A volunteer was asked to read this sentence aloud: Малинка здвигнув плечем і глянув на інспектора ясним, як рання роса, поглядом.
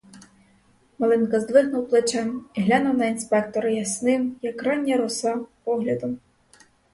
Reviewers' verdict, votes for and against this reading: rejected, 0, 4